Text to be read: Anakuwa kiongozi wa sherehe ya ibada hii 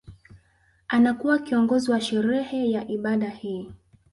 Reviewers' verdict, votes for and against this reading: accepted, 2, 0